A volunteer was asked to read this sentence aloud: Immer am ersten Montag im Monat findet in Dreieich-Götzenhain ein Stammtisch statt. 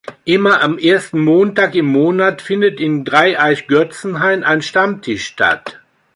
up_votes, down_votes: 2, 0